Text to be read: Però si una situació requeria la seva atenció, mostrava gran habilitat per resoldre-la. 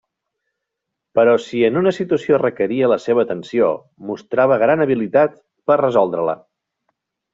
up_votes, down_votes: 1, 2